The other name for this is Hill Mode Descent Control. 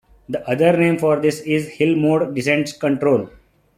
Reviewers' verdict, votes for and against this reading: rejected, 0, 2